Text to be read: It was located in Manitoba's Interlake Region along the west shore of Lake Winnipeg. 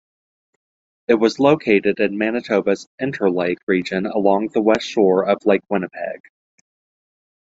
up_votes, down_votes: 1, 2